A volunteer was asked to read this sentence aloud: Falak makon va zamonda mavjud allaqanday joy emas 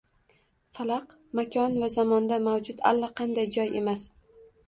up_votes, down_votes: 1, 2